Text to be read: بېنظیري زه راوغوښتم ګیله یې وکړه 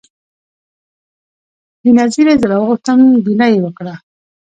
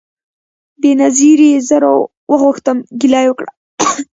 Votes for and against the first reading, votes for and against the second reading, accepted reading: 2, 0, 0, 2, first